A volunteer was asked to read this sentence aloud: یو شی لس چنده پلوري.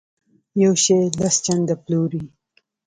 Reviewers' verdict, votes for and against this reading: accepted, 2, 0